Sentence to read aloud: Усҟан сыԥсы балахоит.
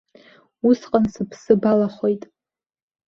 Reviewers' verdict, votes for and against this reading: accepted, 2, 0